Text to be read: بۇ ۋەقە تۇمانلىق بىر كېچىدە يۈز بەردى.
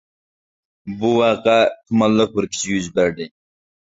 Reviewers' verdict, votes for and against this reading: rejected, 0, 2